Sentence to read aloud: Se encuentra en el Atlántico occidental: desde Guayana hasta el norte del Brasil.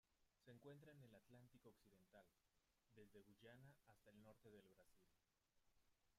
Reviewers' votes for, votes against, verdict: 1, 2, rejected